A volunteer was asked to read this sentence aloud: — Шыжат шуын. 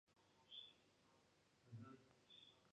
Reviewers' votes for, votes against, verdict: 0, 2, rejected